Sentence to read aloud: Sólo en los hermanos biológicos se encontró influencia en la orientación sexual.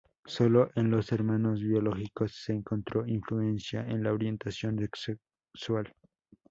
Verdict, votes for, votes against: rejected, 0, 2